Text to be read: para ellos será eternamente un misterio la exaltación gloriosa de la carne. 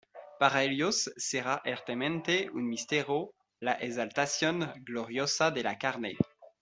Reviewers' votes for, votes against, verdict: 1, 2, rejected